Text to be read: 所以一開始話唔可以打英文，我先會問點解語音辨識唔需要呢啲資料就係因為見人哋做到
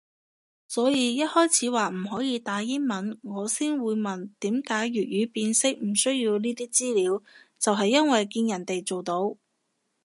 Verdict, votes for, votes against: rejected, 1, 2